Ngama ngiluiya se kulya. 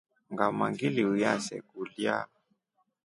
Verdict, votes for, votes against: accepted, 3, 0